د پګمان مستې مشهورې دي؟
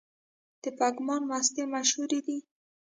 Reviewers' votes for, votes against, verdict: 1, 2, rejected